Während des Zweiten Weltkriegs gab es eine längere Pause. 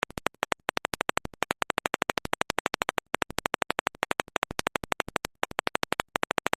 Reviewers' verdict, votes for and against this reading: rejected, 0, 2